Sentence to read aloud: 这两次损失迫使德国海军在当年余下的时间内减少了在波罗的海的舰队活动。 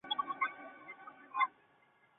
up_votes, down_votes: 0, 2